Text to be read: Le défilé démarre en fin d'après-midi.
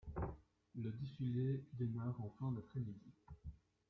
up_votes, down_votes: 0, 2